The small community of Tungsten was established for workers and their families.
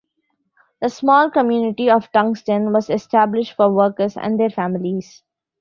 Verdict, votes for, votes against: accepted, 2, 0